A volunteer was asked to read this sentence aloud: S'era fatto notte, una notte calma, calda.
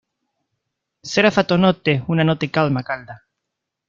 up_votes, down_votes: 1, 2